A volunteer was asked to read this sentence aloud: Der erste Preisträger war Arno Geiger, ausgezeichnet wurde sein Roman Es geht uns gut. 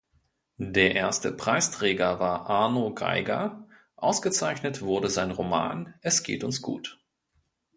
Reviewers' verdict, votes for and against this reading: accepted, 2, 0